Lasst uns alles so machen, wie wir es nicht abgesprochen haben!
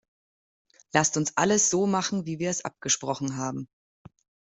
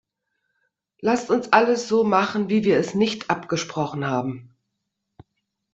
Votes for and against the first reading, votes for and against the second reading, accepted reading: 0, 2, 2, 0, second